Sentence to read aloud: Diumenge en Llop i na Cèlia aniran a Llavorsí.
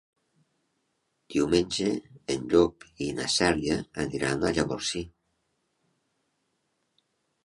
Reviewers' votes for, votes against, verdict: 3, 0, accepted